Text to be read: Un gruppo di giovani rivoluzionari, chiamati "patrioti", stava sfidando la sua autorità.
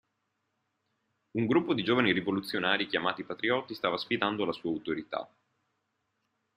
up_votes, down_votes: 0, 2